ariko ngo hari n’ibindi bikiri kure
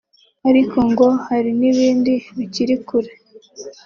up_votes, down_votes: 2, 0